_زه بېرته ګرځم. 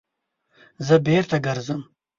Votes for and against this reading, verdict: 2, 1, accepted